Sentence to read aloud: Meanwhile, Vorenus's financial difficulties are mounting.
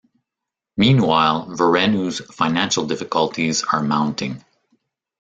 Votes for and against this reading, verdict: 1, 2, rejected